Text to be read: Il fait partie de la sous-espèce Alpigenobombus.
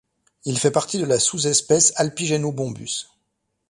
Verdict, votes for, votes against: accepted, 2, 0